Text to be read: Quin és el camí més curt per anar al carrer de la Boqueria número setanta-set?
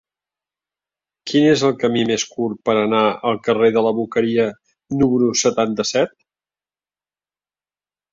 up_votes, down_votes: 2, 0